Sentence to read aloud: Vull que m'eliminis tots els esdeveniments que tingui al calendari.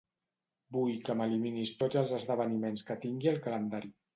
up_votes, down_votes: 2, 1